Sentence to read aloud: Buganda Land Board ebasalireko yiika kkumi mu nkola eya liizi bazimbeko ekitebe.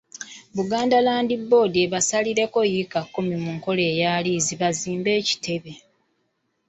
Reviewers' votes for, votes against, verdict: 2, 0, accepted